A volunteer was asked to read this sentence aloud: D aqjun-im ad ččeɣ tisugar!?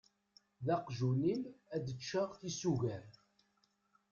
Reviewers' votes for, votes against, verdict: 0, 2, rejected